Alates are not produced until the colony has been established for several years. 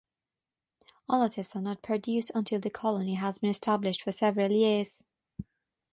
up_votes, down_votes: 3, 3